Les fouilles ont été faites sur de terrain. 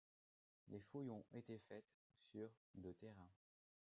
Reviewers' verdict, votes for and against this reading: accepted, 2, 1